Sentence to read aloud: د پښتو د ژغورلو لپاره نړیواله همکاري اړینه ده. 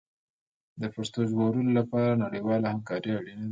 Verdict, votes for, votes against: accepted, 2, 1